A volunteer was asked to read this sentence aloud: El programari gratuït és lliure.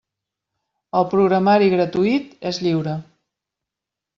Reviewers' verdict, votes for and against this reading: accepted, 3, 0